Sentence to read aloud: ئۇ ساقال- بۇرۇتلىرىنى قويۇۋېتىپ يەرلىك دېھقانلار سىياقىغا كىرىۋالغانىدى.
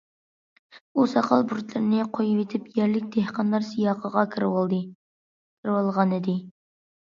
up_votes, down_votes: 0, 2